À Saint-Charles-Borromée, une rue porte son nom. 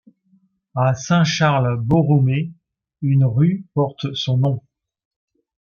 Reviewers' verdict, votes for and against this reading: accepted, 2, 0